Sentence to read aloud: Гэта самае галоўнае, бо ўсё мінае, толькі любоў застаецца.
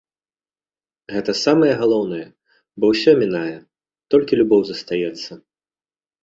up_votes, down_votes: 2, 0